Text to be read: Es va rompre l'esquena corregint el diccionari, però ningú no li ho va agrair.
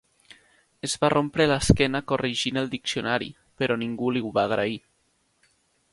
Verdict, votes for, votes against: rejected, 2, 4